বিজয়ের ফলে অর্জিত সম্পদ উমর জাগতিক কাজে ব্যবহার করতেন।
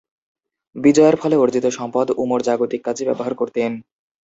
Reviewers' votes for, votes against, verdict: 4, 1, accepted